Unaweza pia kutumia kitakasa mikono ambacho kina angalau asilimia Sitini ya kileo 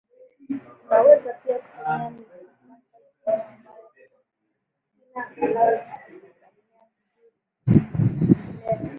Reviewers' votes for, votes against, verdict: 0, 2, rejected